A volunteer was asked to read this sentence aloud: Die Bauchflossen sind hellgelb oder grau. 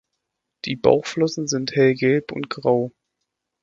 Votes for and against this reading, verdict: 0, 2, rejected